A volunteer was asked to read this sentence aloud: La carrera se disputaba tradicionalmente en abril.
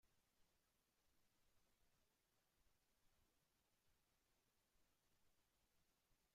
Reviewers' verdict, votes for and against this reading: rejected, 0, 2